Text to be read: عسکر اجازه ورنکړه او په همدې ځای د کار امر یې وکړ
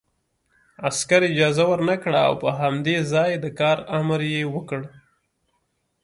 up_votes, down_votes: 2, 0